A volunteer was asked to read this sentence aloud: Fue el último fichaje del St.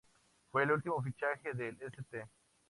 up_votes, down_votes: 2, 0